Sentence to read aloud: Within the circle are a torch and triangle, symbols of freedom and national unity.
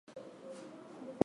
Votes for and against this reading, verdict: 0, 2, rejected